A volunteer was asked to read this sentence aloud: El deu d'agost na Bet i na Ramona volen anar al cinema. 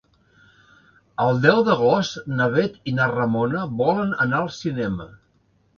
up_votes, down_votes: 4, 0